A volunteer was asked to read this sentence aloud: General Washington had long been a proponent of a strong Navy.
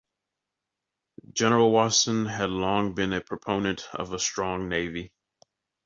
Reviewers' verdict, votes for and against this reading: rejected, 0, 2